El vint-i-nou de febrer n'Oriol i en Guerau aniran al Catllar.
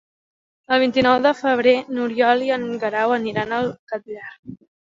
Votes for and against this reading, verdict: 3, 0, accepted